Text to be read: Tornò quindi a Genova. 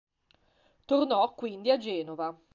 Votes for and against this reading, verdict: 2, 0, accepted